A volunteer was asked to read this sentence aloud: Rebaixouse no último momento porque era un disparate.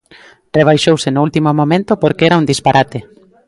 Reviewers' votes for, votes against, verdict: 2, 0, accepted